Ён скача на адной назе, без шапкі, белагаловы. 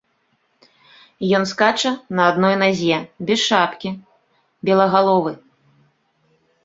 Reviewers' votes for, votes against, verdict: 2, 0, accepted